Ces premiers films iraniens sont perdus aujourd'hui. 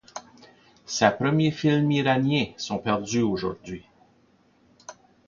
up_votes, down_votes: 2, 0